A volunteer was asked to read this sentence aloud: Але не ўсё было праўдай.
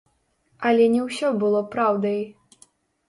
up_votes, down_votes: 1, 2